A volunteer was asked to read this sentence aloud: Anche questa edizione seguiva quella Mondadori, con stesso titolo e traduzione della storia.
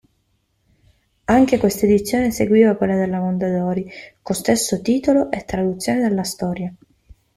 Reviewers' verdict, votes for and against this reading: accepted, 2, 1